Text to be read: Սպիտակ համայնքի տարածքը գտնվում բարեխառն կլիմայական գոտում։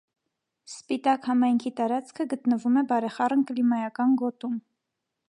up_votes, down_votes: 0, 2